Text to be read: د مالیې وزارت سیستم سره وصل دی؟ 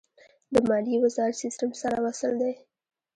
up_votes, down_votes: 1, 2